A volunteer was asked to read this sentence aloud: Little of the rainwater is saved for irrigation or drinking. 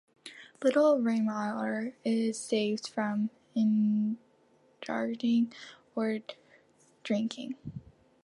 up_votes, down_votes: 0, 2